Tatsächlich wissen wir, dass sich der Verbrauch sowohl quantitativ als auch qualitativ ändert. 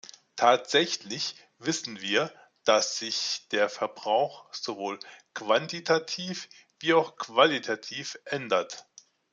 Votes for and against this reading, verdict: 0, 2, rejected